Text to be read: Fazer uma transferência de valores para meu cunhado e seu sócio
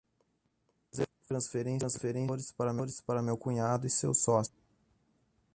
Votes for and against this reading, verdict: 0, 2, rejected